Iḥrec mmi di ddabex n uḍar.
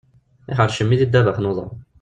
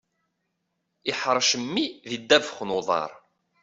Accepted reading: second